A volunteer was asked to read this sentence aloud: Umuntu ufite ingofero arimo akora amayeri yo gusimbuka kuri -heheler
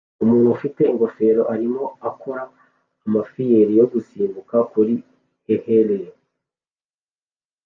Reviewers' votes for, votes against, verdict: 1, 2, rejected